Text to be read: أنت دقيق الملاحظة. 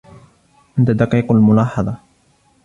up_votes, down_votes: 2, 0